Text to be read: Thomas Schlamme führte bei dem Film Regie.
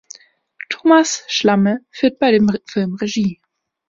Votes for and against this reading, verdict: 0, 2, rejected